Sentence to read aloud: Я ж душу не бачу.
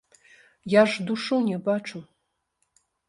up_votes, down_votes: 0, 2